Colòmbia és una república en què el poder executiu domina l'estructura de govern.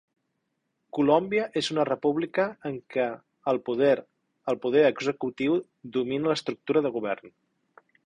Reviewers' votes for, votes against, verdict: 0, 2, rejected